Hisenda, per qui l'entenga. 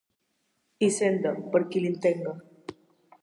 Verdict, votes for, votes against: rejected, 1, 2